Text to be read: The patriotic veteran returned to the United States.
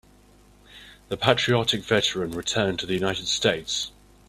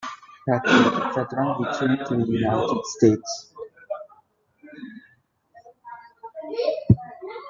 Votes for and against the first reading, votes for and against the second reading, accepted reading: 2, 0, 0, 2, first